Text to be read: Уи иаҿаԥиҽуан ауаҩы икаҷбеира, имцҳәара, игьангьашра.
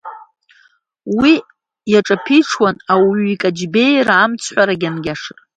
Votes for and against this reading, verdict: 0, 2, rejected